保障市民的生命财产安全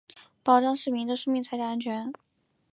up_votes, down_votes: 4, 0